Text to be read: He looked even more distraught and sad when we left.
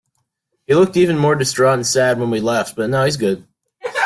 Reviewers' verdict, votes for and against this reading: rejected, 0, 2